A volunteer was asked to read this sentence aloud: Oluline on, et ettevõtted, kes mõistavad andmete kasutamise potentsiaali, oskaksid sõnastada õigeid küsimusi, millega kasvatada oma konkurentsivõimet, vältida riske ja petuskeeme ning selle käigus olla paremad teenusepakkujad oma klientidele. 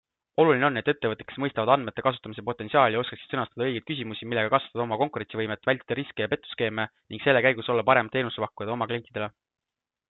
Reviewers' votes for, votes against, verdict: 2, 1, accepted